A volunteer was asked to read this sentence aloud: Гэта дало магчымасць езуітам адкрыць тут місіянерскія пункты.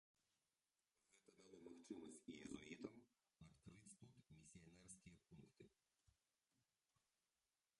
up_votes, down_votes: 0, 2